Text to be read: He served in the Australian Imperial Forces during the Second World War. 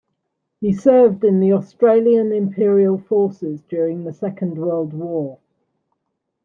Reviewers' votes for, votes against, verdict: 2, 0, accepted